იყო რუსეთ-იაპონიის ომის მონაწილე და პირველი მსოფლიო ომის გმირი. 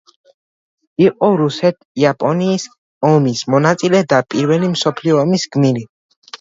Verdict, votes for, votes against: rejected, 1, 2